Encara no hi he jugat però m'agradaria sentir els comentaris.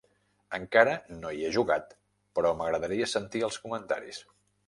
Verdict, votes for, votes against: rejected, 1, 2